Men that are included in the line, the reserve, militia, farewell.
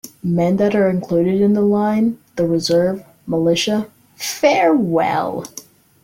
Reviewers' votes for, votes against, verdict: 2, 0, accepted